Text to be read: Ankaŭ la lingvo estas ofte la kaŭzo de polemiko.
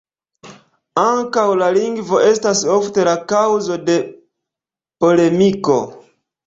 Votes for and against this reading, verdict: 2, 0, accepted